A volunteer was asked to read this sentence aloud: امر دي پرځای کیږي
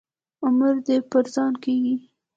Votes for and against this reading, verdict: 0, 2, rejected